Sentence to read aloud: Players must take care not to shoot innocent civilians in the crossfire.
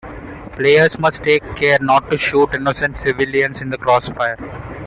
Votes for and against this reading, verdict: 2, 0, accepted